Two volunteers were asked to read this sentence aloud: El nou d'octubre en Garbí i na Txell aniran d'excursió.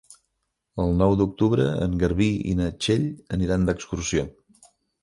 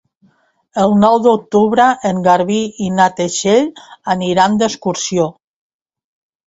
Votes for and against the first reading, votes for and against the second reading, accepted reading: 3, 0, 0, 2, first